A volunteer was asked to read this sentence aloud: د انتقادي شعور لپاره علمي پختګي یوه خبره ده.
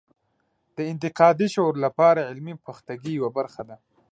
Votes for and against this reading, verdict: 0, 2, rejected